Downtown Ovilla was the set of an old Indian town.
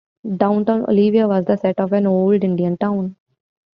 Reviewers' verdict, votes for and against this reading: rejected, 0, 2